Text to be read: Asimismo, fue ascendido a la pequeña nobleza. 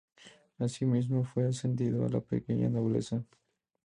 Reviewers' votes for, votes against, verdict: 2, 2, rejected